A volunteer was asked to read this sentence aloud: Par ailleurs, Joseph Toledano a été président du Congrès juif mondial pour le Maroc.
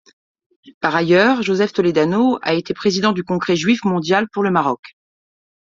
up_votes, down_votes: 2, 0